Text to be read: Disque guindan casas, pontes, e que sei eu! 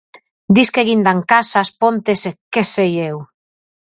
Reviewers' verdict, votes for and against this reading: accepted, 4, 0